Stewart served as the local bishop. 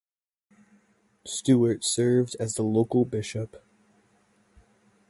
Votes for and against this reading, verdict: 2, 0, accepted